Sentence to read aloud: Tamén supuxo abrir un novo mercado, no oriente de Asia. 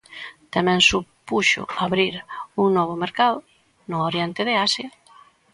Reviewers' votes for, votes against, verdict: 2, 0, accepted